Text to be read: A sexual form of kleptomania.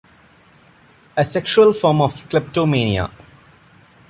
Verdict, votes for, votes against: accepted, 2, 0